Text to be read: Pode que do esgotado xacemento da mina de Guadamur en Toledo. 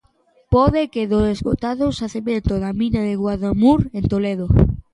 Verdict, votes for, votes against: accepted, 2, 1